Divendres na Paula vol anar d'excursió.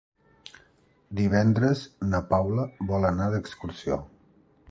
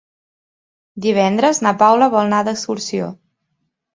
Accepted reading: first